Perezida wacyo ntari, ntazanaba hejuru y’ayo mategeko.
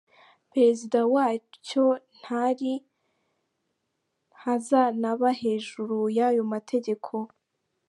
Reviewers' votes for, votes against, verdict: 2, 0, accepted